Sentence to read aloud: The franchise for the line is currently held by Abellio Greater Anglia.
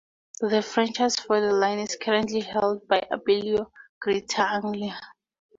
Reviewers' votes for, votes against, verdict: 2, 0, accepted